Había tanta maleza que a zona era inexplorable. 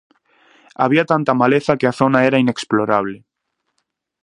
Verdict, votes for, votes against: accepted, 2, 0